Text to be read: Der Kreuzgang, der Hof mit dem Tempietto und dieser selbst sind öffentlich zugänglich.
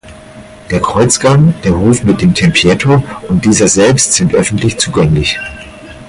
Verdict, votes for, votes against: rejected, 2, 4